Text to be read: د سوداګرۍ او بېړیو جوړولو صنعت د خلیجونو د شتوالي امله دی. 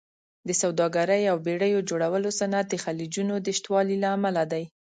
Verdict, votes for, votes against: accepted, 2, 0